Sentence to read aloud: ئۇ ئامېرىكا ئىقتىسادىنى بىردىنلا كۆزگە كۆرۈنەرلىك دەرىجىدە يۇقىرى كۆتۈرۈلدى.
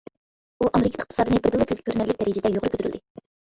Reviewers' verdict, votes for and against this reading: accepted, 2, 1